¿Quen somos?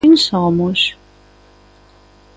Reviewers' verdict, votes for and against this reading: accepted, 2, 0